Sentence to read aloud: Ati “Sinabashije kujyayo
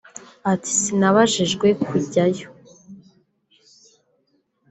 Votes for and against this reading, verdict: 2, 3, rejected